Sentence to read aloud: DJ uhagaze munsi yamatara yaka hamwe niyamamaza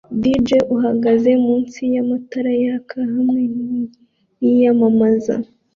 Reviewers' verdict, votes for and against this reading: rejected, 1, 2